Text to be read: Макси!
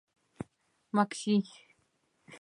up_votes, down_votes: 2, 0